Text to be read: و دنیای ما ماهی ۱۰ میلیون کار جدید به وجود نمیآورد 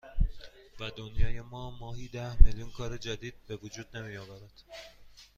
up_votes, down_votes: 0, 2